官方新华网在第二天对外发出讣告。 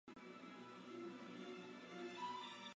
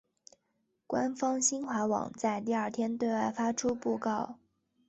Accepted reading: second